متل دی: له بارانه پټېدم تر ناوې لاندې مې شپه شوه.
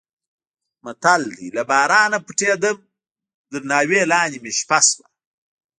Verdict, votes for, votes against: rejected, 1, 2